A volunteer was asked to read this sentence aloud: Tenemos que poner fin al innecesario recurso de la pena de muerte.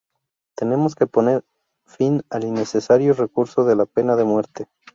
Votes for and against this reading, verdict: 0, 2, rejected